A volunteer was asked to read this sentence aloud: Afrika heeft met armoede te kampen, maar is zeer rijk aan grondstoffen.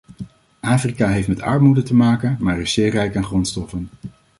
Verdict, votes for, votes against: rejected, 1, 2